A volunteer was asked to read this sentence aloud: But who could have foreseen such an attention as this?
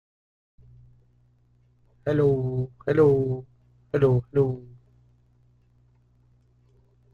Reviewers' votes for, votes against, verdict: 0, 2, rejected